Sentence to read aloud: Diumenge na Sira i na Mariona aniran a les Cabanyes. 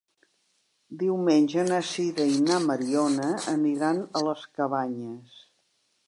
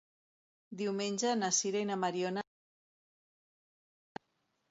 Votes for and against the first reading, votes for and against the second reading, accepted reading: 2, 0, 0, 2, first